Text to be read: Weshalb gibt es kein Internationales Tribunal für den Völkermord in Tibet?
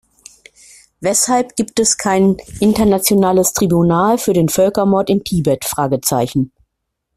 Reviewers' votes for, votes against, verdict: 0, 2, rejected